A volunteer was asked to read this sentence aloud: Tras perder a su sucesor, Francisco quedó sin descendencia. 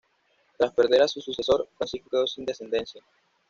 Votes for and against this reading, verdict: 1, 2, rejected